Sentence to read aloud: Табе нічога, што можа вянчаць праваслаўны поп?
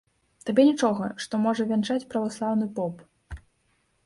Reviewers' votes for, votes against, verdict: 3, 0, accepted